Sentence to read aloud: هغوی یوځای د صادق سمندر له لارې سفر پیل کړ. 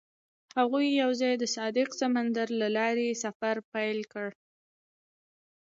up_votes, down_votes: 2, 0